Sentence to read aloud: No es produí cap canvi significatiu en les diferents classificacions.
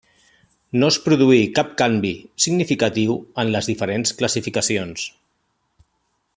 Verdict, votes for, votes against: accepted, 3, 0